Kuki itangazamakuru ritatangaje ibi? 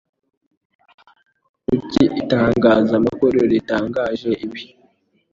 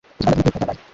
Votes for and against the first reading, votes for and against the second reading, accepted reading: 2, 0, 1, 2, first